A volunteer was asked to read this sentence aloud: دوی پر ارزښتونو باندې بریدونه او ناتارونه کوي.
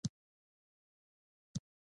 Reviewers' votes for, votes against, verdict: 2, 0, accepted